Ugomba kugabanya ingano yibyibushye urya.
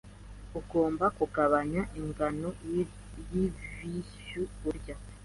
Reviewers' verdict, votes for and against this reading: rejected, 1, 2